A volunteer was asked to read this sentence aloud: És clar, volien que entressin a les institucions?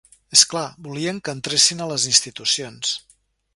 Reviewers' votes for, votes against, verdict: 1, 2, rejected